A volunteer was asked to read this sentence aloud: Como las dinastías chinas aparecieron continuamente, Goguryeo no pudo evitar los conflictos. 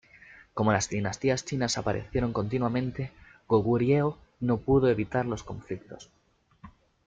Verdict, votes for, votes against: accepted, 2, 0